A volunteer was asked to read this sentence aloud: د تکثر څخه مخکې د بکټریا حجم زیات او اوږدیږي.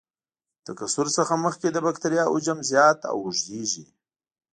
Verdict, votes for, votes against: accepted, 2, 0